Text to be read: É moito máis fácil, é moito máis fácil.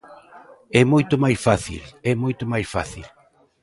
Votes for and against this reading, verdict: 3, 0, accepted